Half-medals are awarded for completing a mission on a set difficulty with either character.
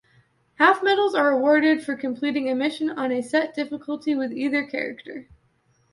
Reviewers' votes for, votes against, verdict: 2, 0, accepted